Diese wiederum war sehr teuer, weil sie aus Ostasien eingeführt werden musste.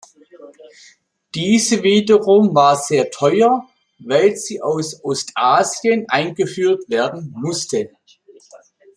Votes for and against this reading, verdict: 2, 0, accepted